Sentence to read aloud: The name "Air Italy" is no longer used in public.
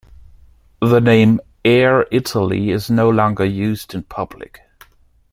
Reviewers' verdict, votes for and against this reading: accepted, 2, 0